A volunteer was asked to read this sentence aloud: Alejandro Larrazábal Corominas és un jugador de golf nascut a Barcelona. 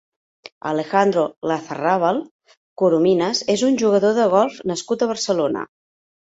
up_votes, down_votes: 1, 2